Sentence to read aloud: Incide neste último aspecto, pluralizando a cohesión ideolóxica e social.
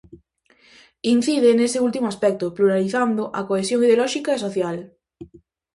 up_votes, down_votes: 0, 2